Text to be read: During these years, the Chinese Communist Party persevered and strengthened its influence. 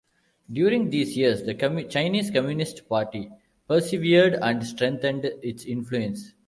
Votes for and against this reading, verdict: 0, 2, rejected